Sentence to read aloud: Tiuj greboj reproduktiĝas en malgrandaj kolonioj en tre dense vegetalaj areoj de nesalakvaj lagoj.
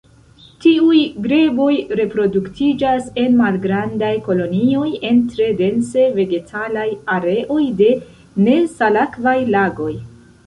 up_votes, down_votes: 2, 1